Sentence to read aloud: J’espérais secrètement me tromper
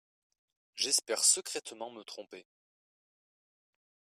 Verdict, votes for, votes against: rejected, 1, 2